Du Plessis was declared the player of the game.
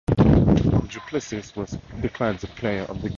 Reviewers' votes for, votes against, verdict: 0, 2, rejected